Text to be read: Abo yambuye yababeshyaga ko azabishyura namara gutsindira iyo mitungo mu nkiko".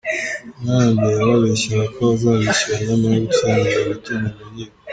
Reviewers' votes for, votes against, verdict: 1, 2, rejected